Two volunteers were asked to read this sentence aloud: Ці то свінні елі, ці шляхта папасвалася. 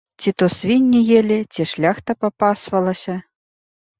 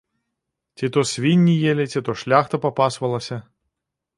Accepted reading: first